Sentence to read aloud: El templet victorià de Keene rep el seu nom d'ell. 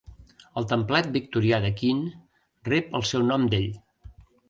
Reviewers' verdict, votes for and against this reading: accepted, 4, 0